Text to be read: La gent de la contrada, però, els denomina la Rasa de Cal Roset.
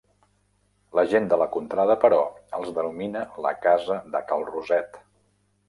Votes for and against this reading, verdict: 1, 2, rejected